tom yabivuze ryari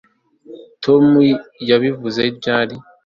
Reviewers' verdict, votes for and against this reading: accepted, 2, 0